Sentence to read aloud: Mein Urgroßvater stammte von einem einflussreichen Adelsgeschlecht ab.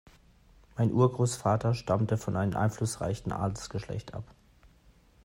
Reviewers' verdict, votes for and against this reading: accepted, 2, 0